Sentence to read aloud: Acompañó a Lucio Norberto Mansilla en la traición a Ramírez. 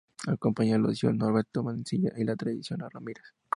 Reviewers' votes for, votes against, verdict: 2, 0, accepted